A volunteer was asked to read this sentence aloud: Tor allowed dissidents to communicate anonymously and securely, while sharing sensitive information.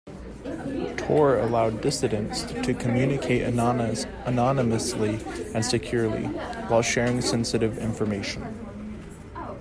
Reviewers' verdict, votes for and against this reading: rejected, 0, 2